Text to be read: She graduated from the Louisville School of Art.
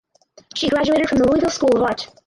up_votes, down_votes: 0, 4